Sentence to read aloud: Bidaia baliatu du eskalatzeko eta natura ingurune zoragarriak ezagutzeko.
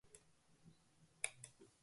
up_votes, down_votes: 0, 2